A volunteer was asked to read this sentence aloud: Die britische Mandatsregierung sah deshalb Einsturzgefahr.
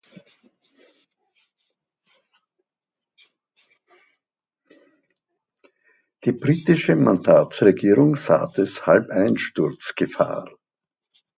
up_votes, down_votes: 2, 0